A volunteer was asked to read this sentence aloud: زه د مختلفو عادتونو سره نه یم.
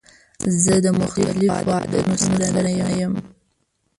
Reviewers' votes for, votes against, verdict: 1, 2, rejected